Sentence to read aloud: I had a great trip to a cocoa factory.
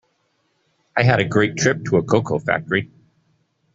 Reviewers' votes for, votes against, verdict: 2, 0, accepted